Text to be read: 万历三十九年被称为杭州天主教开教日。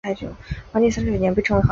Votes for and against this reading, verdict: 0, 2, rejected